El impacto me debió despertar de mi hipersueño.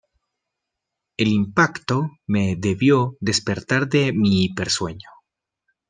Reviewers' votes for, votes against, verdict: 2, 0, accepted